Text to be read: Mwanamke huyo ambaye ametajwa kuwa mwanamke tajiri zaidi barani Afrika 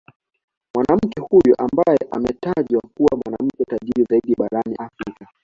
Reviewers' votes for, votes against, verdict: 2, 0, accepted